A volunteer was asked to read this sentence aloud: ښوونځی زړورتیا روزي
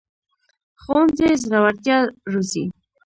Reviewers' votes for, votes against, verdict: 1, 2, rejected